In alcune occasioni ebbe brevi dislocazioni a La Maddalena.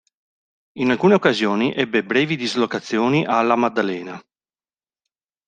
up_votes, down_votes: 2, 0